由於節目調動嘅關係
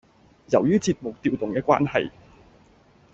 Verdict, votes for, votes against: accepted, 2, 0